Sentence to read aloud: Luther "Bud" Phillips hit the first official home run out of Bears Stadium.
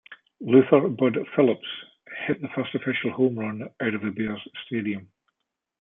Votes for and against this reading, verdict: 1, 2, rejected